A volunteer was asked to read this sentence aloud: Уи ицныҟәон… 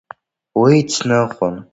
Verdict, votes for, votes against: accepted, 2, 1